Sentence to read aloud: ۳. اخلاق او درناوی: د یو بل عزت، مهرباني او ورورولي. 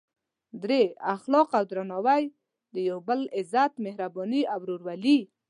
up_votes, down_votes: 0, 2